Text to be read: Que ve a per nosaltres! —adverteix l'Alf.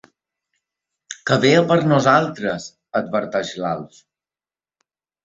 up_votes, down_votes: 2, 0